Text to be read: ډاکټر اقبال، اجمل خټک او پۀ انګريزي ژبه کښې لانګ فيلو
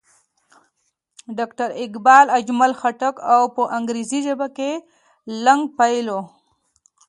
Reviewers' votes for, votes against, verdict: 2, 0, accepted